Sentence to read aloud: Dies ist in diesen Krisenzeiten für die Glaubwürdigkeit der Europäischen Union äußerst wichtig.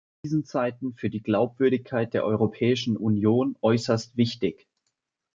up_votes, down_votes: 1, 2